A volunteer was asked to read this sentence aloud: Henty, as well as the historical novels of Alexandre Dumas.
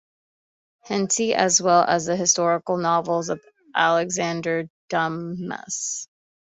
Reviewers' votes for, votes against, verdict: 2, 1, accepted